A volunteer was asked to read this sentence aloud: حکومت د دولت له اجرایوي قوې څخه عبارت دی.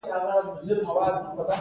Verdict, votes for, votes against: accepted, 2, 0